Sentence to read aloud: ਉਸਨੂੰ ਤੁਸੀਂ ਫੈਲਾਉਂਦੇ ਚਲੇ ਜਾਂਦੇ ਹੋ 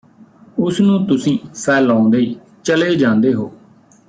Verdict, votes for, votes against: rejected, 1, 2